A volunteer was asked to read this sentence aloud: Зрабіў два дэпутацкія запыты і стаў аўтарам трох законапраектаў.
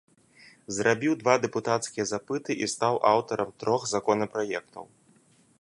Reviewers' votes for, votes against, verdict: 0, 2, rejected